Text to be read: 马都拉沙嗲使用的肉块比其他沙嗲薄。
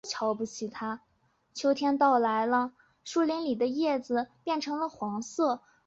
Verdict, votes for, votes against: rejected, 3, 6